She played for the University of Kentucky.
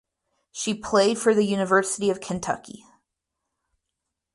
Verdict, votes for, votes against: accepted, 4, 0